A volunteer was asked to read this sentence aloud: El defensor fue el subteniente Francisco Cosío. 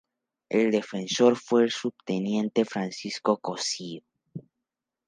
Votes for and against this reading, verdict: 0, 2, rejected